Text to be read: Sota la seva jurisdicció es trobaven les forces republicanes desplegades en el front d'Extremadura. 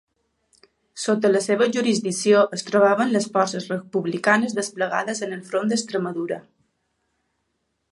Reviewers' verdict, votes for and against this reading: accepted, 2, 0